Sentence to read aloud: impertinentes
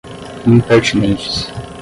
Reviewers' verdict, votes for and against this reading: rejected, 5, 5